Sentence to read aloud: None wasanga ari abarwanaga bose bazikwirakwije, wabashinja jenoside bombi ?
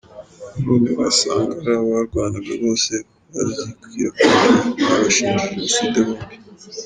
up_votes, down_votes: 1, 2